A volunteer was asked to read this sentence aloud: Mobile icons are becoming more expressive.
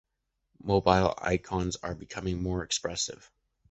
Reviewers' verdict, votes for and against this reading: accepted, 2, 0